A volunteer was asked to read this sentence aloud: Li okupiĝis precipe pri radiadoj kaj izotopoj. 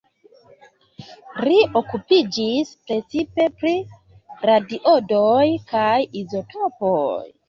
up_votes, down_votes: 0, 2